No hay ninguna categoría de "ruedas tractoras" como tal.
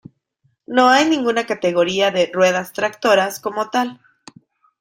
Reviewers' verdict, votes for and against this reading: accepted, 2, 0